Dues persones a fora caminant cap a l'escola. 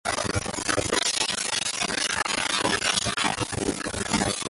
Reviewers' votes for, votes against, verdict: 0, 2, rejected